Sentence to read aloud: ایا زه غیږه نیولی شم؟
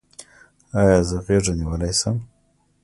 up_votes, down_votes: 2, 0